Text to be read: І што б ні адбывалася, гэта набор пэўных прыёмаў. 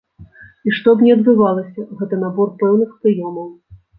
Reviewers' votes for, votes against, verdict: 2, 0, accepted